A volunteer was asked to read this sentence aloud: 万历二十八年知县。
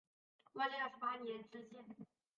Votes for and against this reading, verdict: 4, 2, accepted